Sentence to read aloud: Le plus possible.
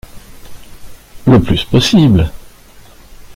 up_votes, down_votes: 2, 0